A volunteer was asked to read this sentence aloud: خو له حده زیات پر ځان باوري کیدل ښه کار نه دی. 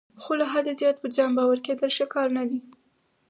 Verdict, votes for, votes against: accepted, 4, 2